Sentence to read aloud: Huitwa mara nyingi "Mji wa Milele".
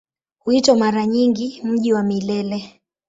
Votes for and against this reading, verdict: 2, 0, accepted